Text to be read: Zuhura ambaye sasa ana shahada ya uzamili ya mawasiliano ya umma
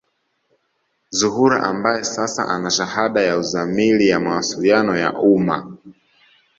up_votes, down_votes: 2, 0